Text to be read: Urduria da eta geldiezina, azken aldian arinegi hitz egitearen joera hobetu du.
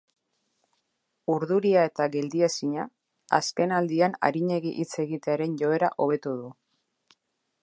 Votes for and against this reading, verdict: 0, 2, rejected